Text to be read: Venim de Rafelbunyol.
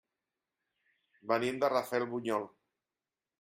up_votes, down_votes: 3, 0